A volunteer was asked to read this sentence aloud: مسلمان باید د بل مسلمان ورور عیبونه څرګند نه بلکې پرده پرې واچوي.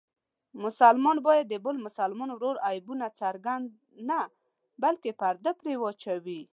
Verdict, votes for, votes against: accepted, 2, 0